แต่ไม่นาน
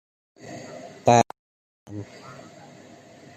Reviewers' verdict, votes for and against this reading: rejected, 1, 2